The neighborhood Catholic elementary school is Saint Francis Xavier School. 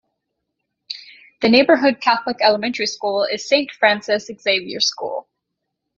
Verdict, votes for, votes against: rejected, 0, 2